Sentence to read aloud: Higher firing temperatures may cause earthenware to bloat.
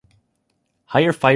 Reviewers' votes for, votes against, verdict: 0, 2, rejected